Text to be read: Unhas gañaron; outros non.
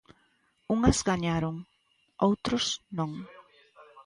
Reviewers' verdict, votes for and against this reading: rejected, 0, 2